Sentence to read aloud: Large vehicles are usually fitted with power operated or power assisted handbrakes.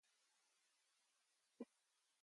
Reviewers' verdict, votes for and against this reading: rejected, 0, 2